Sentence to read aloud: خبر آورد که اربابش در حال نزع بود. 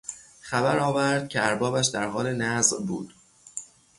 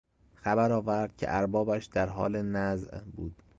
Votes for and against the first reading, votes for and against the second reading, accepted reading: 0, 3, 2, 0, second